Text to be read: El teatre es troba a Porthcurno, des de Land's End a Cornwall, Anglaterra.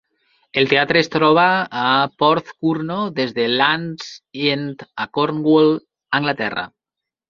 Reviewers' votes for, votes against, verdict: 1, 2, rejected